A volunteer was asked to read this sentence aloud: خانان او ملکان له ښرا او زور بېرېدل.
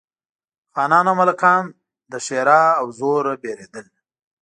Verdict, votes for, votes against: accepted, 2, 0